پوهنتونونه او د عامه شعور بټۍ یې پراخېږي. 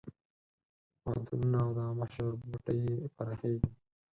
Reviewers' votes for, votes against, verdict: 2, 4, rejected